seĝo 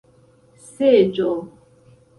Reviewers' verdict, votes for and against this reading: accepted, 2, 0